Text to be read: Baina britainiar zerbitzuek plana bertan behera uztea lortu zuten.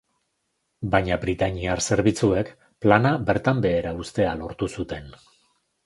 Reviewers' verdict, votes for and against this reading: accepted, 2, 0